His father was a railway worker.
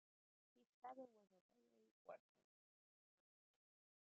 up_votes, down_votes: 0, 2